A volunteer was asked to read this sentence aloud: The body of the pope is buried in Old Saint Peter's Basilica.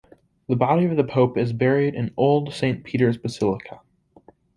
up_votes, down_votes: 2, 0